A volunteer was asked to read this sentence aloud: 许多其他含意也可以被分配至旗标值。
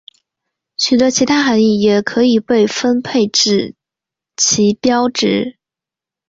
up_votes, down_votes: 2, 1